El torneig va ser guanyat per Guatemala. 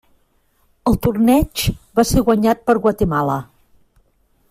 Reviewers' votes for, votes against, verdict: 3, 0, accepted